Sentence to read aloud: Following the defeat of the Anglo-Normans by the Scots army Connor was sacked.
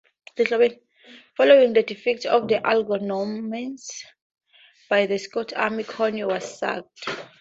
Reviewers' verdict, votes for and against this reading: rejected, 0, 2